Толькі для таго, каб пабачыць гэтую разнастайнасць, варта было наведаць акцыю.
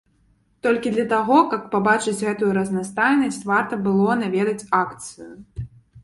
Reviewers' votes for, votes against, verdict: 3, 0, accepted